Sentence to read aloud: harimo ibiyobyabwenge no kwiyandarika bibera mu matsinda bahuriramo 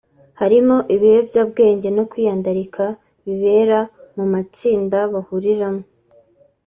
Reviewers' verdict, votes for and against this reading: accepted, 2, 0